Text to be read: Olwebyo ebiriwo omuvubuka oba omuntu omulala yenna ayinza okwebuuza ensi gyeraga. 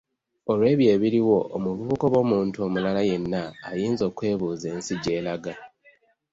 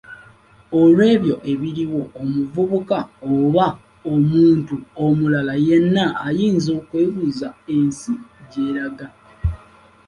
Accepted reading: second